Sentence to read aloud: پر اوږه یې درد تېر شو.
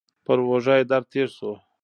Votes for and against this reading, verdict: 1, 2, rejected